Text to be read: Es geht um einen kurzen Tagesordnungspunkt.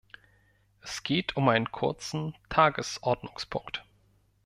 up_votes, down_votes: 2, 0